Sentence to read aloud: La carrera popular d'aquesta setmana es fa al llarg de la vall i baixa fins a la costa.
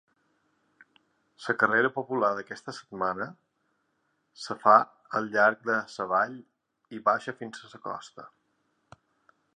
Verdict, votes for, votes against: rejected, 1, 2